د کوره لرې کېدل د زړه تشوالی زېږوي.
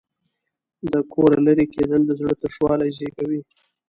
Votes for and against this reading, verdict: 2, 0, accepted